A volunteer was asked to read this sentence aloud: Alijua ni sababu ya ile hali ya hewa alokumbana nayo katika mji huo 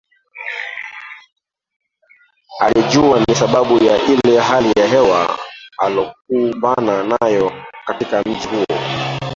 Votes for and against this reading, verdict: 0, 3, rejected